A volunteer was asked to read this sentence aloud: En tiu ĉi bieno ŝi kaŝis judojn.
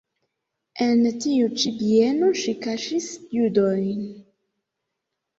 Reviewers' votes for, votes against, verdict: 2, 0, accepted